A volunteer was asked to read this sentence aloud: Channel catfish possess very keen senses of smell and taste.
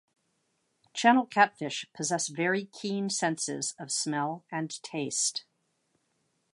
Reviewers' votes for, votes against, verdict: 2, 0, accepted